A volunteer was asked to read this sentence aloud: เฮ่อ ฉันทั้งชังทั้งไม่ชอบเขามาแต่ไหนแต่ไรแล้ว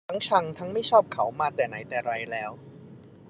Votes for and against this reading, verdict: 0, 2, rejected